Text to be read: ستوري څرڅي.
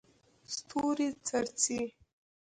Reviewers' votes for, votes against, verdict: 1, 2, rejected